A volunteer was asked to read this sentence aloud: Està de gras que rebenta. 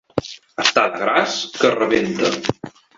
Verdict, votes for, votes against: accepted, 2, 0